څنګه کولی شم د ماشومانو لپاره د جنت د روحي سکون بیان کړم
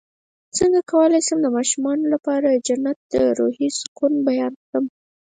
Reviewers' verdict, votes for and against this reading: rejected, 2, 4